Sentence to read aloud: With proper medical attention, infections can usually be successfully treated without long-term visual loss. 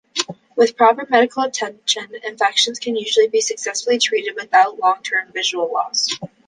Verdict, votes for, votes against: accepted, 2, 0